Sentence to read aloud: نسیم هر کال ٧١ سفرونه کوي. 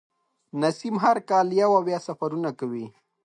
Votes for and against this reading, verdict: 0, 2, rejected